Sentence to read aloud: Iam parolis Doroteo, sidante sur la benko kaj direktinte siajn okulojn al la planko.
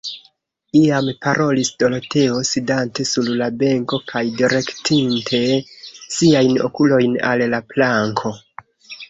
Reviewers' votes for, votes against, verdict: 0, 2, rejected